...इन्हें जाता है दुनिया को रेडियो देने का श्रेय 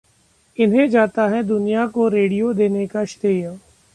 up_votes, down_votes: 0, 2